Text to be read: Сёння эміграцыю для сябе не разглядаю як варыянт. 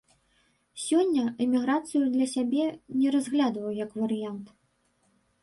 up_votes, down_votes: 0, 2